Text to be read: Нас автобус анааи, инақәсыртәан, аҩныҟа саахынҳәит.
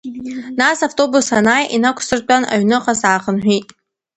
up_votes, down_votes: 2, 1